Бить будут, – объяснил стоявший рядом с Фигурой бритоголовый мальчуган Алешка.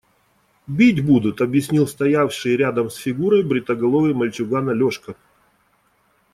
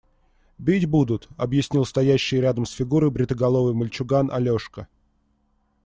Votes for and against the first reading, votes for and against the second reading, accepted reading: 2, 0, 1, 2, first